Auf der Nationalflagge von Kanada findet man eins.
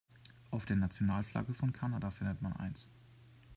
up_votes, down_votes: 2, 0